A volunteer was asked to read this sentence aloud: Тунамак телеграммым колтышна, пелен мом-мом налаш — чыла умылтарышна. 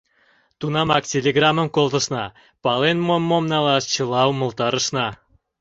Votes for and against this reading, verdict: 1, 2, rejected